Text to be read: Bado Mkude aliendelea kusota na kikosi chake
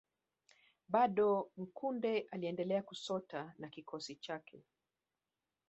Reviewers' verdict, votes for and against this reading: rejected, 1, 2